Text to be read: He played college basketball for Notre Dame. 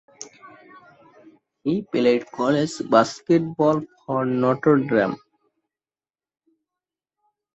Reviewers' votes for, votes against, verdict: 0, 2, rejected